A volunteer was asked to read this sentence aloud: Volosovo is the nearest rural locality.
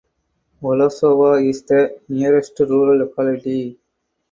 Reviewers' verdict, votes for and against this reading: accepted, 4, 2